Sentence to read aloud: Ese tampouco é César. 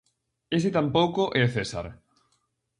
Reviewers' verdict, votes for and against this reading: accepted, 4, 0